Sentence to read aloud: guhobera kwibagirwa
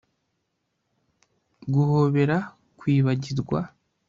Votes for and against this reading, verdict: 2, 0, accepted